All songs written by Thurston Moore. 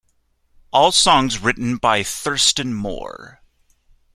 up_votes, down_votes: 2, 0